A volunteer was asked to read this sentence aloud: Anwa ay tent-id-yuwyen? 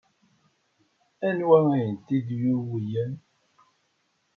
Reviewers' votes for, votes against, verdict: 0, 2, rejected